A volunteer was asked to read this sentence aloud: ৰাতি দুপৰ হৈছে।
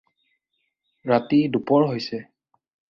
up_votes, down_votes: 4, 0